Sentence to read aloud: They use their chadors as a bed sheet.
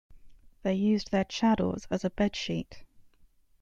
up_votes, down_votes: 2, 0